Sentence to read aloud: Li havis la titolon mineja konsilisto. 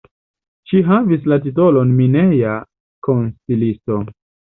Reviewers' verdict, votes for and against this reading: rejected, 1, 2